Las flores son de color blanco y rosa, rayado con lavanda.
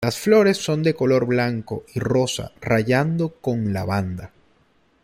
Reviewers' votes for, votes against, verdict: 1, 2, rejected